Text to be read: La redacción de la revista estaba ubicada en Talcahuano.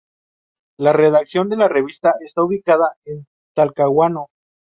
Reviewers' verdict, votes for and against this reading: rejected, 0, 2